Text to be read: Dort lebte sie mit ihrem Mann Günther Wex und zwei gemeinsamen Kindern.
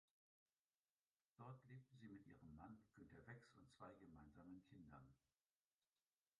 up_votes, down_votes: 1, 2